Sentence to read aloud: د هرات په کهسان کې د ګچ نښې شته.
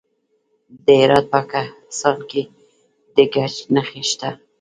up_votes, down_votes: 0, 2